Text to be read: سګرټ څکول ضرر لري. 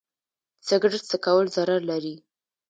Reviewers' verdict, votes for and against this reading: accepted, 2, 0